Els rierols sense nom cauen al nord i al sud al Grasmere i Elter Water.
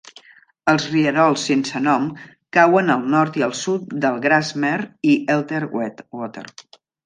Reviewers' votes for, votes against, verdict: 0, 2, rejected